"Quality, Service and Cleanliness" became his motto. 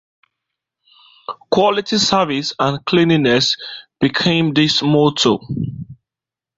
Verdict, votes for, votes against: rejected, 0, 2